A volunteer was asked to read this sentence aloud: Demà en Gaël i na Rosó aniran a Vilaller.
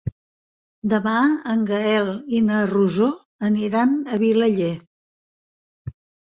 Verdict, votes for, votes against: accepted, 3, 0